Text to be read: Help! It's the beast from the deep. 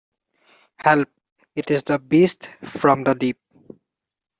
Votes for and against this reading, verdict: 0, 2, rejected